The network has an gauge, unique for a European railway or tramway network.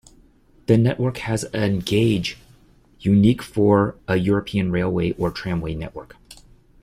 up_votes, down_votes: 2, 0